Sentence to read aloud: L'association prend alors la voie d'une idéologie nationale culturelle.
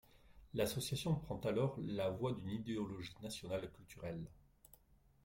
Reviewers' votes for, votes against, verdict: 2, 1, accepted